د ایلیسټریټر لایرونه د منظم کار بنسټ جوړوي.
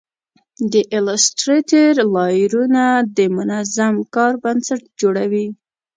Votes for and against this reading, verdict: 2, 0, accepted